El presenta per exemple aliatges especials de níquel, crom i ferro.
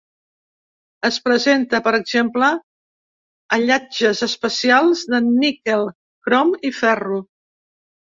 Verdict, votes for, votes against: rejected, 0, 2